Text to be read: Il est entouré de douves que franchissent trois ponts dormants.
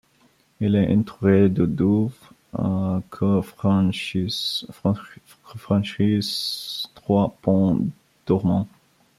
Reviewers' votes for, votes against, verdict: 1, 2, rejected